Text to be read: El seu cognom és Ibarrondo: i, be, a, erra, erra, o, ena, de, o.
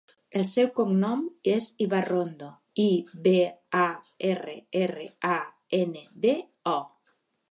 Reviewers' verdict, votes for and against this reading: rejected, 1, 2